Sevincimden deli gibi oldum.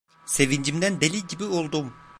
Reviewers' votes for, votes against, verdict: 0, 2, rejected